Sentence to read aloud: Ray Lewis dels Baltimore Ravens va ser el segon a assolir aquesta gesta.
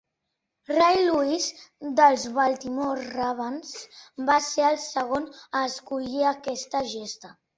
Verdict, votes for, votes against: rejected, 1, 2